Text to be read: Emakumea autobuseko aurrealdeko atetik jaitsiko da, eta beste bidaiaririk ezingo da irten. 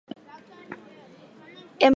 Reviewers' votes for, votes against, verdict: 0, 2, rejected